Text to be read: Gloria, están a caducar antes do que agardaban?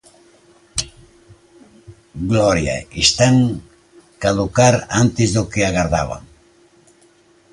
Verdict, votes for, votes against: rejected, 0, 2